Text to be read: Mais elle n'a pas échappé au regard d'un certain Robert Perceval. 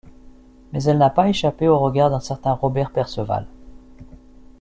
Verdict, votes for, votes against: accepted, 2, 0